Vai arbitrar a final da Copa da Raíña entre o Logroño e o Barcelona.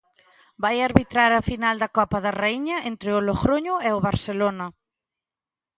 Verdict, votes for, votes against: accepted, 2, 0